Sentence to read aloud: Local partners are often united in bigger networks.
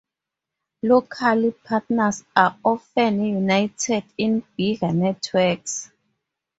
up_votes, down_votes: 4, 0